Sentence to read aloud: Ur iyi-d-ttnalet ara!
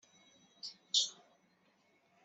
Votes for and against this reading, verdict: 1, 2, rejected